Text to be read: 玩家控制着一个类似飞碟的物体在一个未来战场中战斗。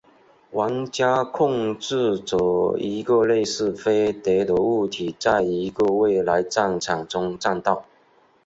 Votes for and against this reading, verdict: 8, 0, accepted